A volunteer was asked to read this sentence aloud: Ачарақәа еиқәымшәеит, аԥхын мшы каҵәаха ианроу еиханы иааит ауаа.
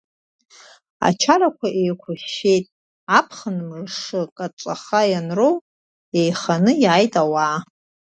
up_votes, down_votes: 2, 1